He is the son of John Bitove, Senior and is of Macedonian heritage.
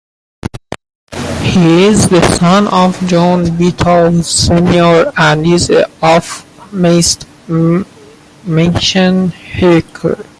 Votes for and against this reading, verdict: 0, 2, rejected